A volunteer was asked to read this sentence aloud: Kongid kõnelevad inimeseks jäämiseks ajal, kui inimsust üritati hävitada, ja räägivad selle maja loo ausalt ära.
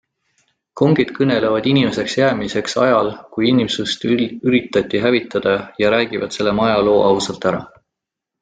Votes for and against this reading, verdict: 2, 0, accepted